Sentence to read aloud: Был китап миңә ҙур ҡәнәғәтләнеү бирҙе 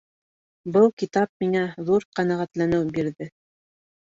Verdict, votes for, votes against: accepted, 3, 0